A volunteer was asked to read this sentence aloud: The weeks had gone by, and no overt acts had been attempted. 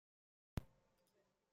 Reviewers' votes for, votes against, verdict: 0, 2, rejected